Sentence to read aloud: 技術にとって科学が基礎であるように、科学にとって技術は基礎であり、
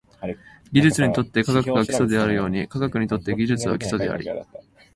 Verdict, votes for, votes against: rejected, 1, 2